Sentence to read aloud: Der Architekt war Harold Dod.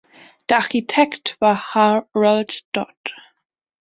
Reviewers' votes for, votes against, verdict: 1, 2, rejected